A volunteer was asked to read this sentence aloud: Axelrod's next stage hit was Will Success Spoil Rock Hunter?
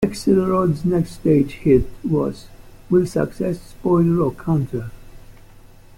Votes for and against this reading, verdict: 1, 2, rejected